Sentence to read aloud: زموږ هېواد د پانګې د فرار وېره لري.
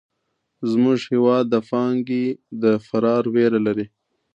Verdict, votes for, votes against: accepted, 2, 0